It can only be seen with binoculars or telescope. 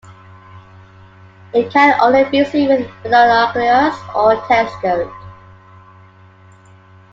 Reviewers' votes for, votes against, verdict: 1, 2, rejected